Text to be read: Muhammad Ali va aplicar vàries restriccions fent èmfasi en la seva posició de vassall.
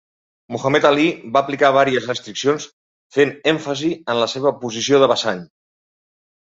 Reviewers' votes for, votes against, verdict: 1, 2, rejected